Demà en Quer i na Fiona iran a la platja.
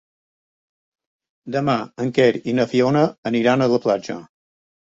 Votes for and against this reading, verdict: 1, 2, rejected